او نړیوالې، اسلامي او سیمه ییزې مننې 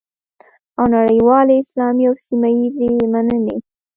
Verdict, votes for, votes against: accepted, 2, 0